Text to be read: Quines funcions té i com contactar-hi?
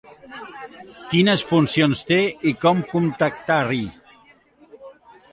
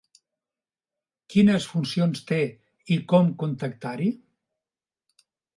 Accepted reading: second